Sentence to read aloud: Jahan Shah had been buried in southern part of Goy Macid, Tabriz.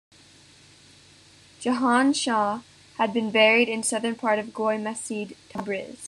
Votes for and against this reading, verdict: 2, 0, accepted